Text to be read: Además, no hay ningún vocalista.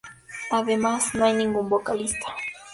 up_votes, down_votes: 2, 0